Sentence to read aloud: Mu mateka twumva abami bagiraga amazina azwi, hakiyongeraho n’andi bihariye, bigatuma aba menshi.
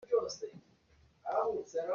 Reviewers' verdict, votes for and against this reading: rejected, 0, 2